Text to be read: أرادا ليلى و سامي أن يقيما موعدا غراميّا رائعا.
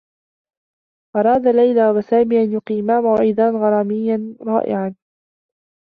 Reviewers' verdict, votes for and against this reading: rejected, 0, 2